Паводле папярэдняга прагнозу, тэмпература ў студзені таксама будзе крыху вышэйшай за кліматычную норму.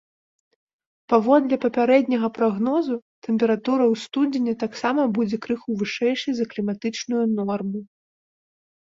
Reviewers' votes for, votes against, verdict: 2, 0, accepted